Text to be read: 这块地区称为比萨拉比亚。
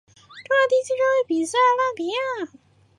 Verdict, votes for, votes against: rejected, 0, 5